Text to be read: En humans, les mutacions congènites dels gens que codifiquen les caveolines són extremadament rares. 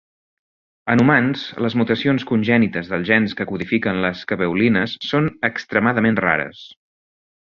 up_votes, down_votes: 2, 0